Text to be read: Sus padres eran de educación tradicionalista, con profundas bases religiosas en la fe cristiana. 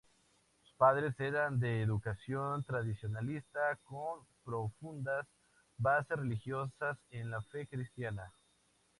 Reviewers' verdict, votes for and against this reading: accepted, 4, 0